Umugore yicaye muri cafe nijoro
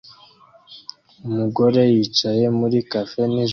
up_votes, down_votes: 1, 2